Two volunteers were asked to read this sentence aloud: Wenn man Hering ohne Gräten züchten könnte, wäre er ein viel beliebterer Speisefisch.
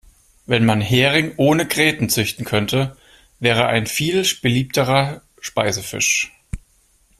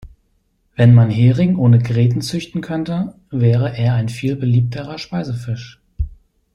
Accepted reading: second